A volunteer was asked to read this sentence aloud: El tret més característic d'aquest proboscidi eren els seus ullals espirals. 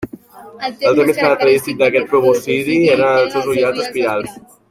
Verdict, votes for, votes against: rejected, 1, 2